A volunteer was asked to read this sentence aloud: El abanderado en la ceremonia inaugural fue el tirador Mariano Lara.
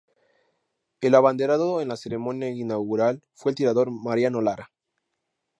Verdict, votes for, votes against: accepted, 2, 0